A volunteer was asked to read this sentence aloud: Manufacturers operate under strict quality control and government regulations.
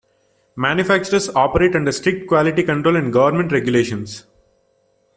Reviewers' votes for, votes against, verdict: 3, 0, accepted